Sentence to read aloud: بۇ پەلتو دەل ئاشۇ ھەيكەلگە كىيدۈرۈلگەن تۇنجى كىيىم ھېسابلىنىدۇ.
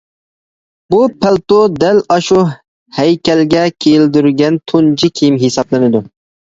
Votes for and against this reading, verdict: 0, 2, rejected